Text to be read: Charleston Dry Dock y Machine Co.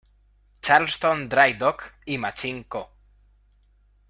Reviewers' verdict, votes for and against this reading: rejected, 1, 2